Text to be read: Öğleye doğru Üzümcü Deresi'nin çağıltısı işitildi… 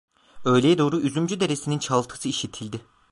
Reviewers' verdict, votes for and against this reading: accepted, 2, 0